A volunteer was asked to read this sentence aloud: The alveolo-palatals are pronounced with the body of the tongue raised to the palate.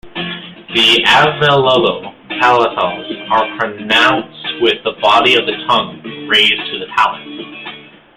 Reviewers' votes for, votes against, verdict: 1, 2, rejected